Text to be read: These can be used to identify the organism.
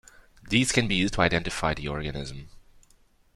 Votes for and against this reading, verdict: 2, 0, accepted